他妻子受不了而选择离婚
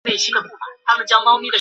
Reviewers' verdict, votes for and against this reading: rejected, 0, 2